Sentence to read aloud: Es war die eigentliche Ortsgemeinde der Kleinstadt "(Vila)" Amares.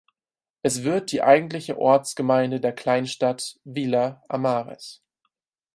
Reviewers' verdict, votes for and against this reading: rejected, 2, 4